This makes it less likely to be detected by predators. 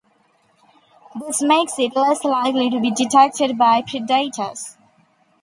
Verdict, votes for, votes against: rejected, 1, 2